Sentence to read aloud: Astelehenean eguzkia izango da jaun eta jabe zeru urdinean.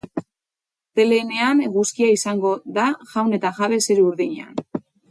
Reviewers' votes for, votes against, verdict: 2, 6, rejected